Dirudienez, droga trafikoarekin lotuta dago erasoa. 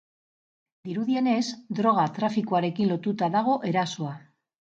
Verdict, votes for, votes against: accepted, 4, 0